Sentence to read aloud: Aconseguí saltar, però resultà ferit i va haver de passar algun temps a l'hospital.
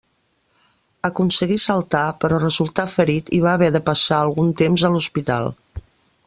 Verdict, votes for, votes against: accepted, 3, 0